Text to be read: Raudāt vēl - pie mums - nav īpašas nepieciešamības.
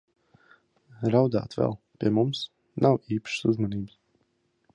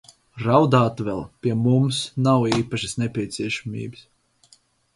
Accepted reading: second